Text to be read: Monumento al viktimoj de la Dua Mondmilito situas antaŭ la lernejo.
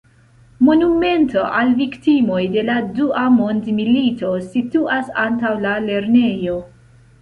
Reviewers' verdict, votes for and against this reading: accepted, 3, 0